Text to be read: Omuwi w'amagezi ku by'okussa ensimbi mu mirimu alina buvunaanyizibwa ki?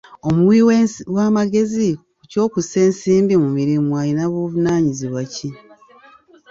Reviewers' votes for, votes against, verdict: 0, 2, rejected